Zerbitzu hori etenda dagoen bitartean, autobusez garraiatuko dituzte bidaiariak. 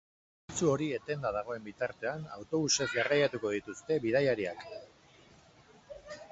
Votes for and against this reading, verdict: 2, 2, rejected